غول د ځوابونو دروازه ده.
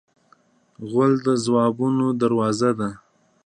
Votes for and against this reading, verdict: 2, 0, accepted